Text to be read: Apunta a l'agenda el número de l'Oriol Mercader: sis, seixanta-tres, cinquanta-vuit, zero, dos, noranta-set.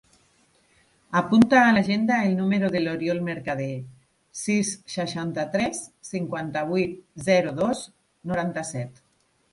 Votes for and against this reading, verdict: 2, 0, accepted